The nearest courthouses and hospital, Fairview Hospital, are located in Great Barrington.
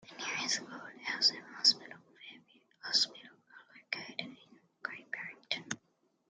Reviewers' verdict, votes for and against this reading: rejected, 0, 2